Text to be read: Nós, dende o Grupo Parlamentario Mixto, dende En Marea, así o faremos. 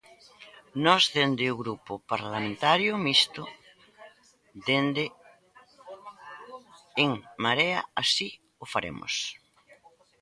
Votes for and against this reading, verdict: 1, 2, rejected